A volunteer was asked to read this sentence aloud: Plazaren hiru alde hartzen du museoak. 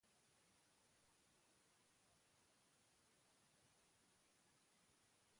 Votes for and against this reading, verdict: 0, 2, rejected